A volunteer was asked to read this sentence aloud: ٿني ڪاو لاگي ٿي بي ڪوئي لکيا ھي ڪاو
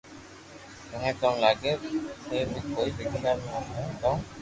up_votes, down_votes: 2, 0